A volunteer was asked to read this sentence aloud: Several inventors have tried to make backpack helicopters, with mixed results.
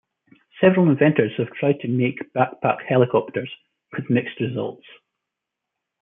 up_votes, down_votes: 2, 0